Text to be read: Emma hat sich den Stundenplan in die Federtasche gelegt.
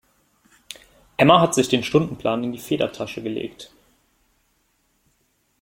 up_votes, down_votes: 2, 1